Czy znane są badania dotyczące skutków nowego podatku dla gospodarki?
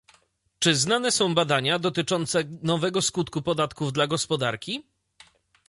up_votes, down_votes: 0, 2